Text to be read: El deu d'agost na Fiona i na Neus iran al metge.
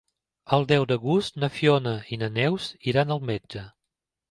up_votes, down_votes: 2, 0